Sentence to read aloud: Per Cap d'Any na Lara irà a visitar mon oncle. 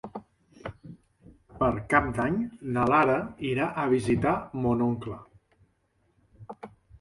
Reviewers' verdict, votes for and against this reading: accepted, 3, 0